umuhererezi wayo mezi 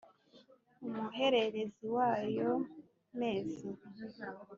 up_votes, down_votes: 2, 0